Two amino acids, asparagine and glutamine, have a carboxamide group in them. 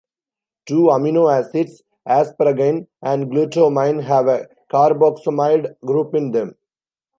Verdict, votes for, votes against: rejected, 1, 2